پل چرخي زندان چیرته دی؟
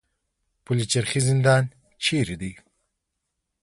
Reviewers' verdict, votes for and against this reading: accepted, 2, 0